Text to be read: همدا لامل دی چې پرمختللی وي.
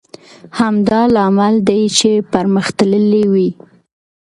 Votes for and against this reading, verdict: 2, 0, accepted